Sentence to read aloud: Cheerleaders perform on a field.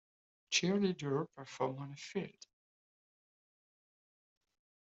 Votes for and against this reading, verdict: 0, 2, rejected